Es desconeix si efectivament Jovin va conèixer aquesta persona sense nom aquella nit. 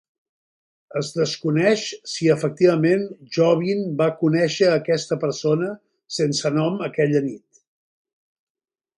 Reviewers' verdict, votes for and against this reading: accepted, 2, 0